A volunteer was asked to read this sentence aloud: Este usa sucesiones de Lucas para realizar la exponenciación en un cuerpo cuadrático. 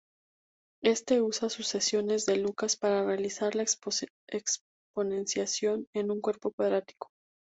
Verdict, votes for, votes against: rejected, 0, 2